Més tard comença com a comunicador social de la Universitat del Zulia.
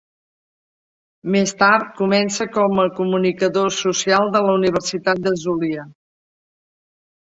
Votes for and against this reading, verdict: 2, 0, accepted